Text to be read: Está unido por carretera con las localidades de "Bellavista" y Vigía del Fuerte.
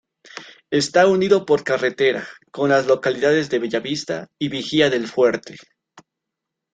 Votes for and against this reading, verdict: 2, 0, accepted